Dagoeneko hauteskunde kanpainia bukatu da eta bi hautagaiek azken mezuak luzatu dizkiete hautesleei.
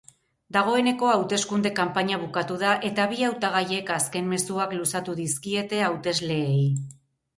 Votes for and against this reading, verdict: 4, 0, accepted